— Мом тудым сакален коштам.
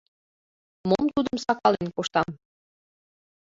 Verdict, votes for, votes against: accepted, 2, 1